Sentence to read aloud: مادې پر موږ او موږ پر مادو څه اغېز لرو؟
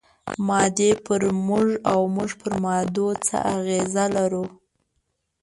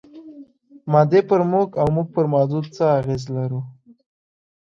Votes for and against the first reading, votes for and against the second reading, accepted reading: 0, 2, 2, 0, second